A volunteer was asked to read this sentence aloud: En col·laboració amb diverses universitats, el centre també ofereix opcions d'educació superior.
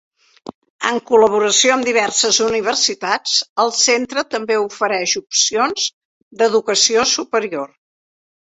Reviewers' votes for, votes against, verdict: 3, 1, accepted